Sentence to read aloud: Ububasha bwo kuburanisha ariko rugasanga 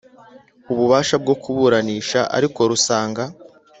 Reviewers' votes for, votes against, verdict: 1, 2, rejected